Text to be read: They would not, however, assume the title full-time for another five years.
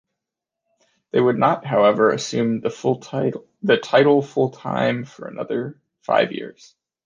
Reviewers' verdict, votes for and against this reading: rejected, 0, 2